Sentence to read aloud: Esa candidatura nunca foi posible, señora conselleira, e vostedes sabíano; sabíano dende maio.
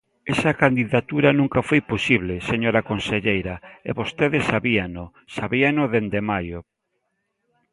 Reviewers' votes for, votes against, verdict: 2, 0, accepted